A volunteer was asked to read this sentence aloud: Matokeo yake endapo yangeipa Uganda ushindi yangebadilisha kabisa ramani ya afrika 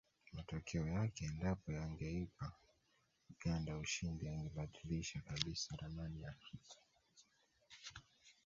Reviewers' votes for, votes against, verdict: 0, 2, rejected